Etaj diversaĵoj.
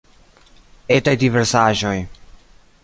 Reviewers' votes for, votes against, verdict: 2, 1, accepted